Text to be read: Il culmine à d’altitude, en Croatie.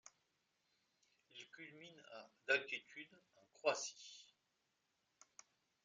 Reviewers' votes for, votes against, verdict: 0, 2, rejected